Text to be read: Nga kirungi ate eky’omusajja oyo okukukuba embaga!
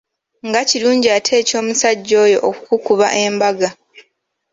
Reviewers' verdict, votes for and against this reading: accepted, 3, 0